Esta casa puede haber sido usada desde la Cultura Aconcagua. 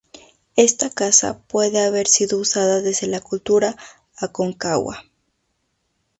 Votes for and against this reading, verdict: 2, 0, accepted